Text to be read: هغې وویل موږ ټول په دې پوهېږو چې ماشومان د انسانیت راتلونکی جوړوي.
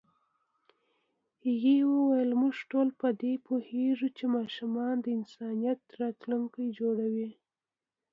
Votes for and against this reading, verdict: 2, 1, accepted